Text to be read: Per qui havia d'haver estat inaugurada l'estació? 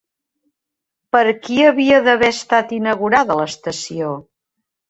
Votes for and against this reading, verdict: 3, 0, accepted